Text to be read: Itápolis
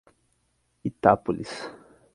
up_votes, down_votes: 4, 0